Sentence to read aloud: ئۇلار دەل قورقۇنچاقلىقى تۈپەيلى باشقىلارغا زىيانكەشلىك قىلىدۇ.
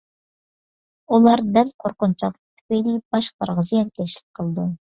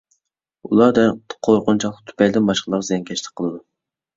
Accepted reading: first